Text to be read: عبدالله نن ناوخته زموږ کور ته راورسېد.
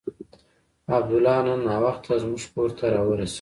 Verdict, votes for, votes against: rejected, 0, 2